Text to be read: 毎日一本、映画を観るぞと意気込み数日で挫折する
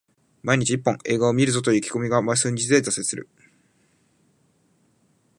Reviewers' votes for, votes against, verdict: 0, 2, rejected